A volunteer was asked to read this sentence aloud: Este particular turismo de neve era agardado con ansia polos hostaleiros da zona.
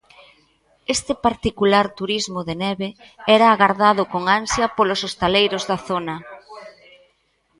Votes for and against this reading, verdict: 0, 2, rejected